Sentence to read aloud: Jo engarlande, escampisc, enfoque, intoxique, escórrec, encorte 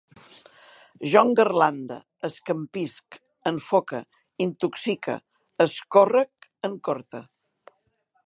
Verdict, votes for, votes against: accepted, 2, 0